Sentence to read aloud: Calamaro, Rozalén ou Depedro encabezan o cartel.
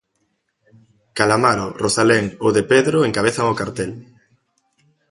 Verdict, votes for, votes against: accepted, 2, 0